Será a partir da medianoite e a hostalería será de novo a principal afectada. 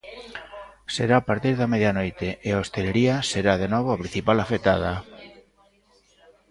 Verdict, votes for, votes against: rejected, 0, 2